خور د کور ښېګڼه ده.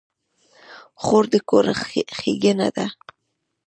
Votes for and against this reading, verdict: 0, 2, rejected